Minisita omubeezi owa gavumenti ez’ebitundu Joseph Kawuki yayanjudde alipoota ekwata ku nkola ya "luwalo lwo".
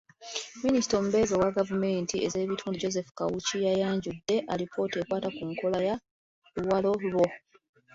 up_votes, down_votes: 2, 1